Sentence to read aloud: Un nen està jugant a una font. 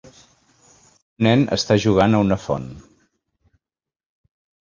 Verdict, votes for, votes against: rejected, 0, 2